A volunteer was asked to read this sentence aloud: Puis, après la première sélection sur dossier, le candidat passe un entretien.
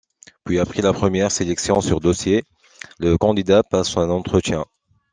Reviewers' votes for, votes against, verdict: 2, 0, accepted